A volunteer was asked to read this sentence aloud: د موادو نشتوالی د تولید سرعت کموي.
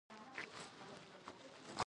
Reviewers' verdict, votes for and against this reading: rejected, 1, 2